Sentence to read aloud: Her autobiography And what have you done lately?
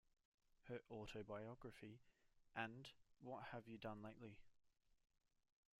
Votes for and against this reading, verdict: 0, 2, rejected